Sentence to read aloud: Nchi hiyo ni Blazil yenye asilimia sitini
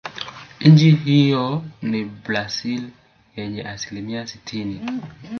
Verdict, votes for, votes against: rejected, 0, 2